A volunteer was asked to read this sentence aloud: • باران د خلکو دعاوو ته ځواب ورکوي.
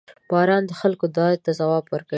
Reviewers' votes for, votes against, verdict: 1, 2, rejected